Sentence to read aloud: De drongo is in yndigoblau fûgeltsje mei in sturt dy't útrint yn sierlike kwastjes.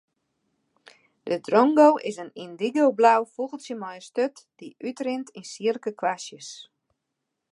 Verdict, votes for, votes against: rejected, 0, 2